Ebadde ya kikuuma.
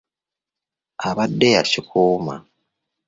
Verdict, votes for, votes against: accepted, 2, 0